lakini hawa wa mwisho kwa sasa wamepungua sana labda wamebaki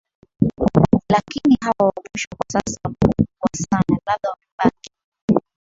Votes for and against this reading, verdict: 2, 10, rejected